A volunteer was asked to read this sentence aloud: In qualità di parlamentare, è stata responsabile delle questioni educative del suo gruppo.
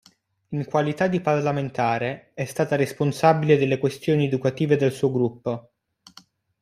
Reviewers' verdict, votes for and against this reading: accepted, 2, 0